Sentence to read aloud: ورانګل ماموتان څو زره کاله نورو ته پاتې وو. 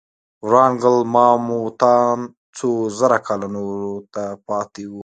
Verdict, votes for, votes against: rejected, 1, 2